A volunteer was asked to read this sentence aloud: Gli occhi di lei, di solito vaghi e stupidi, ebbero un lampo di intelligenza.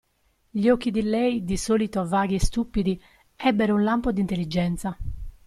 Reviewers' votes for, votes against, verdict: 0, 2, rejected